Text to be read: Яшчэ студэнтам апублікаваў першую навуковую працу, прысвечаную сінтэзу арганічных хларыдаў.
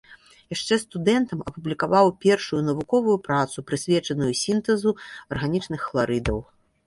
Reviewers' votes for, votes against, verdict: 2, 1, accepted